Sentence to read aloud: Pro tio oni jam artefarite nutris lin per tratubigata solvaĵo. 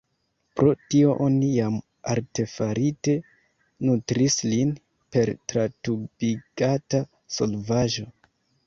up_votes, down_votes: 0, 3